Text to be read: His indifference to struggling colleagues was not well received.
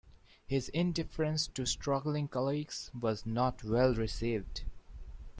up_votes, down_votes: 2, 0